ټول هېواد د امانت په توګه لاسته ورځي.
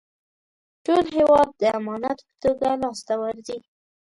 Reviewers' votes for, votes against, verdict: 1, 2, rejected